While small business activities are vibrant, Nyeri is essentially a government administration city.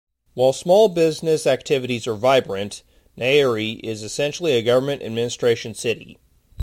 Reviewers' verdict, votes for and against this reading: accepted, 2, 0